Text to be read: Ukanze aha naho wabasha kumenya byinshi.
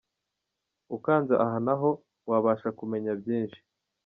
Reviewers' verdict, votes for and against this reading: accepted, 2, 0